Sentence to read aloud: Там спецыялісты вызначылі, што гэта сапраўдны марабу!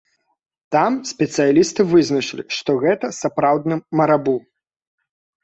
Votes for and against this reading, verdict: 3, 0, accepted